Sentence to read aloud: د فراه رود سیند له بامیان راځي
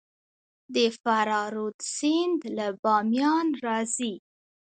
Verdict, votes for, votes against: rejected, 1, 2